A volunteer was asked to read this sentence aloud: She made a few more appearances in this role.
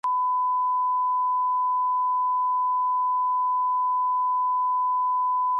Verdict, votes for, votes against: rejected, 0, 2